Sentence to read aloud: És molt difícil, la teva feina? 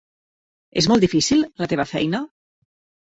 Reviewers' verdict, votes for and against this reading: accepted, 3, 0